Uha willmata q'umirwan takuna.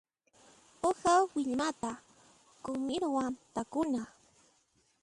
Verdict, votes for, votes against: rejected, 0, 2